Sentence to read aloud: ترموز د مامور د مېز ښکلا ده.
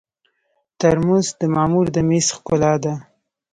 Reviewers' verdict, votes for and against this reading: accepted, 2, 0